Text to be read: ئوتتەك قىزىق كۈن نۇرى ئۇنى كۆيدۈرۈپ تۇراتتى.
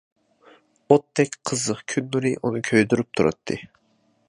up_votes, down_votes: 2, 0